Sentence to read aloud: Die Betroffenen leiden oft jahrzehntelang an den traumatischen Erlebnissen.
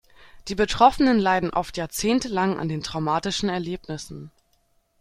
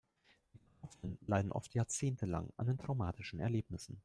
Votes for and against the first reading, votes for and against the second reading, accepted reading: 2, 0, 0, 2, first